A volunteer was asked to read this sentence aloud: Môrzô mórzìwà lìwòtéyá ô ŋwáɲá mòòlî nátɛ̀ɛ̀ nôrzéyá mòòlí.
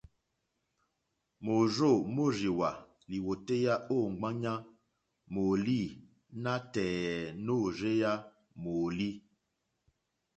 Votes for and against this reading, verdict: 2, 0, accepted